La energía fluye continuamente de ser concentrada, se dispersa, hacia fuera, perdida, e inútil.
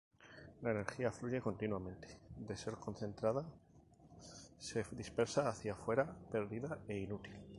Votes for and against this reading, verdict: 2, 2, rejected